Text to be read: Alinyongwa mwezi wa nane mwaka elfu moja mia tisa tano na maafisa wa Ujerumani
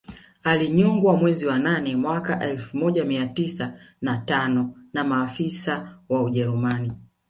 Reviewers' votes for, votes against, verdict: 0, 2, rejected